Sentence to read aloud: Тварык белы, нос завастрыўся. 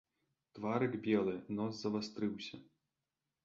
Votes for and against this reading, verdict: 3, 0, accepted